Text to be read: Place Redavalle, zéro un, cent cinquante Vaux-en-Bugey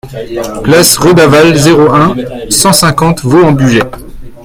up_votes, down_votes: 1, 2